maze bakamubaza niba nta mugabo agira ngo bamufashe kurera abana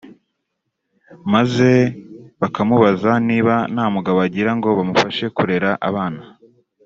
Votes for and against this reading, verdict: 2, 0, accepted